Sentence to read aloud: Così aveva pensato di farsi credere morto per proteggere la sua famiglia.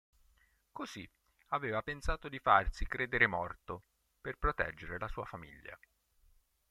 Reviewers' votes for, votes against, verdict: 2, 0, accepted